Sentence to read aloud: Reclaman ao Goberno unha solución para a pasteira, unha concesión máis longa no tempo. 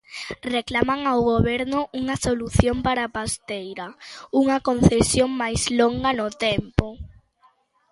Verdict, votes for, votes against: accepted, 2, 0